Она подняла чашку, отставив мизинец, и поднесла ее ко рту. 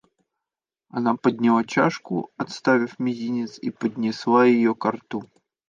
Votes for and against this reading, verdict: 2, 0, accepted